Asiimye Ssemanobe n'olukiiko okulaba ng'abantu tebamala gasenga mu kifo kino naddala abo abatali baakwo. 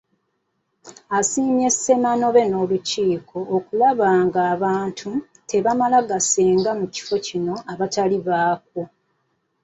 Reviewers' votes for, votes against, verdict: 1, 2, rejected